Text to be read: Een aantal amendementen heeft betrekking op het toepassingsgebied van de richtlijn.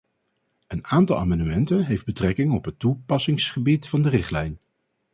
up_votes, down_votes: 0, 2